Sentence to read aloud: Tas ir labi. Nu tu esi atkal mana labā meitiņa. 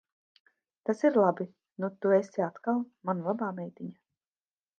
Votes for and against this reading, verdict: 2, 0, accepted